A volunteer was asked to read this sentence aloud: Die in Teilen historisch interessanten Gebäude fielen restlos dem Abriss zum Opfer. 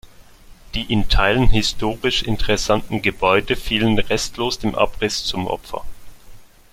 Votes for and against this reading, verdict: 2, 0, accepted